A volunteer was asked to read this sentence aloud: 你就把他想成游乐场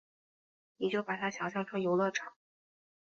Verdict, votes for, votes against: rejected, 1, 2